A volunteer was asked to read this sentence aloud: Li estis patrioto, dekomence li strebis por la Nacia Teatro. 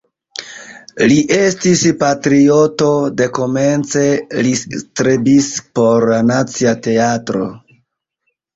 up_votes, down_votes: 2, 0